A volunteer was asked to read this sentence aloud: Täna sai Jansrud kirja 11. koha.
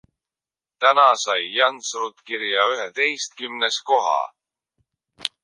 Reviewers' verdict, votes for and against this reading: rejected, 0, 2